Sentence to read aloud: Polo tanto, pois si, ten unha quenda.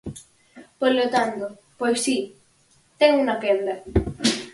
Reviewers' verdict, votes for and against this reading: rejected, 2, 4